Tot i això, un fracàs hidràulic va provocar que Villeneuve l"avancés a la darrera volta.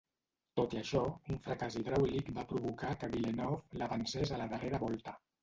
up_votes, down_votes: 0, 2